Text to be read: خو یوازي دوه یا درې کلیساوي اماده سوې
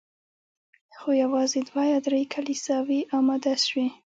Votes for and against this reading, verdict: 2, 0, accepted